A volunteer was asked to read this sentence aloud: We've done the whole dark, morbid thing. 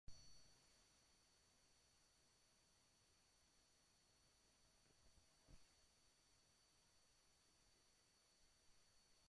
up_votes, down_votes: 0, 2